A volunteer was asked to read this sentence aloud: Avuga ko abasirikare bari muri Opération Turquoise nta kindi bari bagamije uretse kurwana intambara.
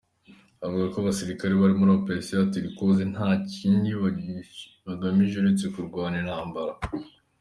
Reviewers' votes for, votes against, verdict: 2, 1, accepted